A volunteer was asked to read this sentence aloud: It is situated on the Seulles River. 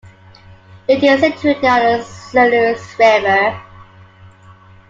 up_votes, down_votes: 1, 2